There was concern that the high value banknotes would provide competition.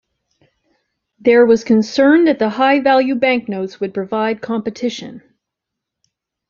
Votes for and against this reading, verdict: 2, 0, accepted